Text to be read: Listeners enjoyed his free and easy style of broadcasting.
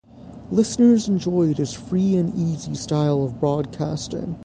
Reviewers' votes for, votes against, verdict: 3, 0, accepted